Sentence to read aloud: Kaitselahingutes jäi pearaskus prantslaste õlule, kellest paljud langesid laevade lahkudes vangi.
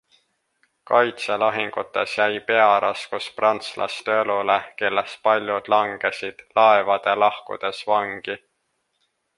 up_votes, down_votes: 2, 0